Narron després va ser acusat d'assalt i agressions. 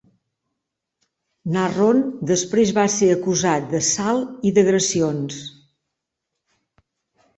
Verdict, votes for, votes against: rejected, 0, 2